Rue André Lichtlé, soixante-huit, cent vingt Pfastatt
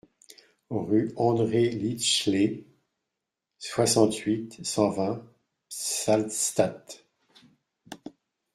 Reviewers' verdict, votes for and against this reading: rejected, 0, 2